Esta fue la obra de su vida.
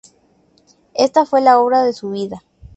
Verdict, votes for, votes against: accepted, 2, 0